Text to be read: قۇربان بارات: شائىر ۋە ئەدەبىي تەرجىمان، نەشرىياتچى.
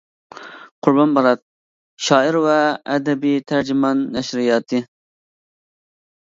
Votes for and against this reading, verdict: 1, 2, rejected